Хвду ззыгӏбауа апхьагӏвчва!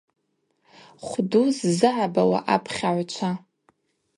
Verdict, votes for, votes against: accepted, 4, 0